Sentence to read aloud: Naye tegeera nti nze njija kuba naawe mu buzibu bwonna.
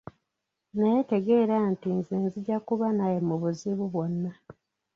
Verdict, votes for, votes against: rejected, 0, 2